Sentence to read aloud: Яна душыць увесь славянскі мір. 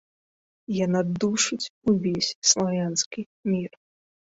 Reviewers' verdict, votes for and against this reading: accepted, 2, 0